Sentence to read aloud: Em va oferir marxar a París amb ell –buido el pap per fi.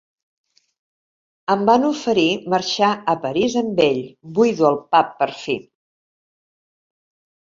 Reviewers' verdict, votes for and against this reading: rejected, 0, 2